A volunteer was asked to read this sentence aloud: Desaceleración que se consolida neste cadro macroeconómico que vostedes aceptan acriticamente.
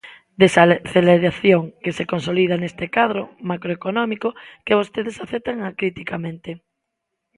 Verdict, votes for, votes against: rejected, 0, 2